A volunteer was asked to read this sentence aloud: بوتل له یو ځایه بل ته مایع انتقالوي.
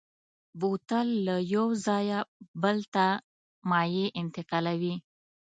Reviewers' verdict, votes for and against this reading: accepted, 2, 0